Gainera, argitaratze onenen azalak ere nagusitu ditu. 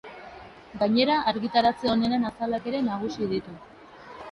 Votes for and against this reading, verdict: 3, 0, accepted